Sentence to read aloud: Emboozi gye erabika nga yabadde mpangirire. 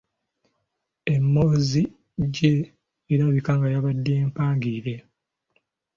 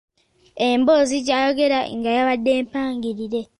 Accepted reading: first